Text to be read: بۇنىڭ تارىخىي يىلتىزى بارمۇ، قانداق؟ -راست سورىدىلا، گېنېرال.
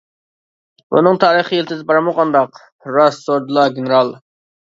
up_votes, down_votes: 2, 0